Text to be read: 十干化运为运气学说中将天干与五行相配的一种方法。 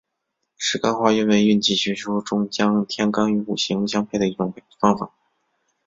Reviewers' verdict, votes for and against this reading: accepted, 2, 0